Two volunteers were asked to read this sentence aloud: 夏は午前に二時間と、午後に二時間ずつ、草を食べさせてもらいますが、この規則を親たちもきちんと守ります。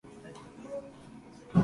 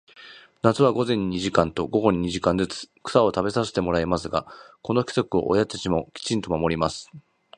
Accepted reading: second